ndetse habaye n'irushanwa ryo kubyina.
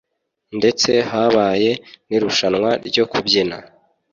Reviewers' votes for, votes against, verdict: 2, 0, accepted